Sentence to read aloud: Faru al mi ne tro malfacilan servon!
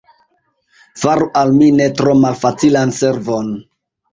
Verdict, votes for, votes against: accepted, 3, 1